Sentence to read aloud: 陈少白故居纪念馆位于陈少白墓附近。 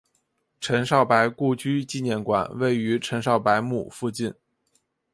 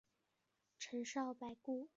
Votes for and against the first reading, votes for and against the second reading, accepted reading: 2, 0, 0, 2, first